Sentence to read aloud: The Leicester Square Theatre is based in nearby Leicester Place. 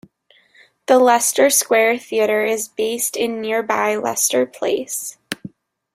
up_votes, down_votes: 2, 0